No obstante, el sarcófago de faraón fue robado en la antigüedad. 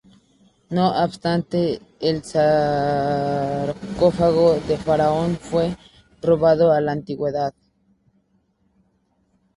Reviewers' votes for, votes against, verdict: 0, 2, rejected